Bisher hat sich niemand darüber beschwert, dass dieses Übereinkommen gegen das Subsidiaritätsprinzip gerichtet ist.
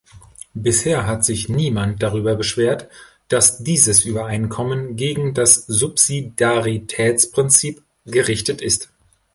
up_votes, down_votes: 1, 2